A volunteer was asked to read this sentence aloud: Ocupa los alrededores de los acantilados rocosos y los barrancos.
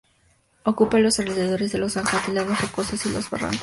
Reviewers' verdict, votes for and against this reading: rejected, 2, 2